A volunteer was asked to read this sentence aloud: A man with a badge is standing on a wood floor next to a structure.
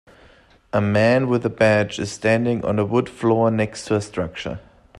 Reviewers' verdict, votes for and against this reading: accepted, 2, 0